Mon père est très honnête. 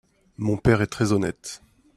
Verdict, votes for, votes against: accepted, 2, 0